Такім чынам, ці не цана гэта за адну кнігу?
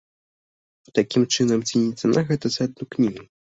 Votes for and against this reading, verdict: 2, 0, accepted